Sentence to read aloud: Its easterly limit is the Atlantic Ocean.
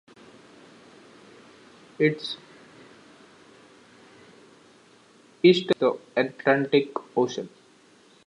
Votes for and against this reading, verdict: 0, 2, rejected